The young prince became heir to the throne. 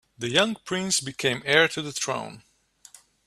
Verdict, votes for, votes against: accepted, 2, 1